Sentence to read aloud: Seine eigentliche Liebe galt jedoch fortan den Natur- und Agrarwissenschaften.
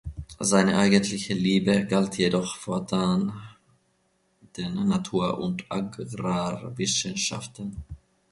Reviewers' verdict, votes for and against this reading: accepted, 2, 0